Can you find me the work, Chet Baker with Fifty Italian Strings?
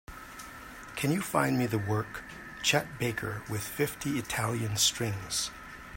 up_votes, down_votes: 2, 0